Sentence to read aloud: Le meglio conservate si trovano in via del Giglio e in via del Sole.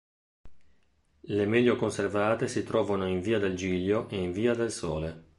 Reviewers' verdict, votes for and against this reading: accepted, 2, 0